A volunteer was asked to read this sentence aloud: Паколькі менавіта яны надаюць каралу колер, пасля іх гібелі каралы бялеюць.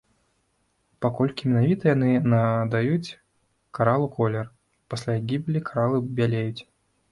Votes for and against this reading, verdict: 0, 2, rejected